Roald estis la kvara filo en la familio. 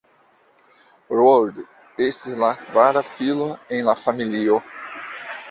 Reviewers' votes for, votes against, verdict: 1, 2, rejected